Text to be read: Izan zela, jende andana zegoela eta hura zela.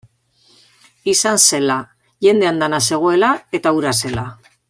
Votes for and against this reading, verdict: 2, 0, accepted